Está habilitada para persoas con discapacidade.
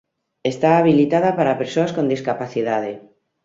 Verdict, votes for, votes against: accepted, 2, 1